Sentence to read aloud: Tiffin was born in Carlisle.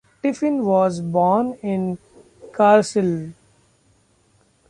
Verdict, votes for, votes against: rejected, 0, 2